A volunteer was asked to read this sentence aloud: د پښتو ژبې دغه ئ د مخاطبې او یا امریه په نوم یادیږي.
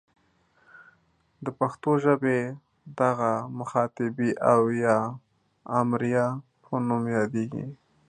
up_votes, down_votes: 1, 2